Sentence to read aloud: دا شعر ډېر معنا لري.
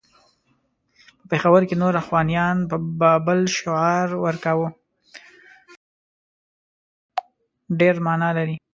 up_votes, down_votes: 0, 2